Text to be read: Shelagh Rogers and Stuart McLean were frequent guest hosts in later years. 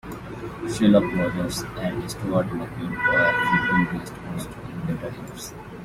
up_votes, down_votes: 2, 1